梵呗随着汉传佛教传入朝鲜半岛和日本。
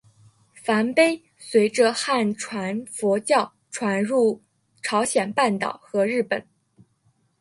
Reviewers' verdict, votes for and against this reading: accepted, 7, 0